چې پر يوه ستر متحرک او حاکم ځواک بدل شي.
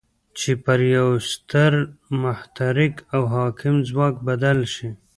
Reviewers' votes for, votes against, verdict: 0, 2, rejected